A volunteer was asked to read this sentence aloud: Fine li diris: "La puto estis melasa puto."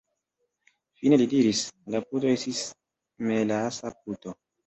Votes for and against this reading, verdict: 0, 2, rejected